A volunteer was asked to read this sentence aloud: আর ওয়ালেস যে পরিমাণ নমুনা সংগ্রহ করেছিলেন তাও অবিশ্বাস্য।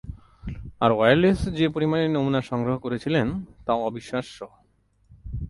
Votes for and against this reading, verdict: 0, 4, rejected